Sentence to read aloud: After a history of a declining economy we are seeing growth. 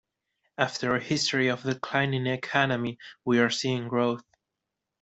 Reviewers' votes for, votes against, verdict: 0, 2, rejected